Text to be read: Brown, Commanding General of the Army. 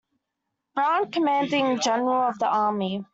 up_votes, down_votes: 2, 0